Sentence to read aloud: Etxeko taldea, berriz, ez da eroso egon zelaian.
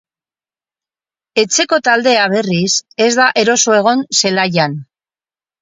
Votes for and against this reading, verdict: 6, 0, accepted